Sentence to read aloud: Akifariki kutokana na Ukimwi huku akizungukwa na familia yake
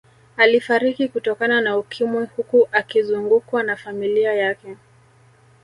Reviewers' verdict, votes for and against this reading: rejected, 1, 2